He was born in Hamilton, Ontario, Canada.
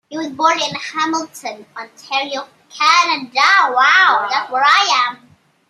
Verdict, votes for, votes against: rejected, 0, 2